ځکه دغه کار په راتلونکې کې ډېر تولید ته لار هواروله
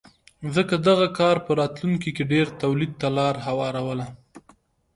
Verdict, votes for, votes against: accepted, 2, 0